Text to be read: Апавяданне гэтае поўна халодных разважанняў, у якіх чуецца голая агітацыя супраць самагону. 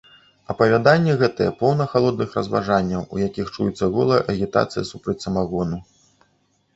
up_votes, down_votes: 2, 0